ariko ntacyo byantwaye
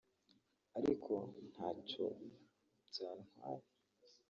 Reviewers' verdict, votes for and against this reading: rejected, 1, 2